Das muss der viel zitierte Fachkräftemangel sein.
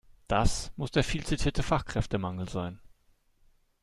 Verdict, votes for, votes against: accepted, 2, 0